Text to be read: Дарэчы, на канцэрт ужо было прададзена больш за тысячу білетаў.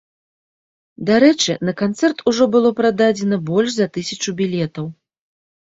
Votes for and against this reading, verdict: 2, 0, accepted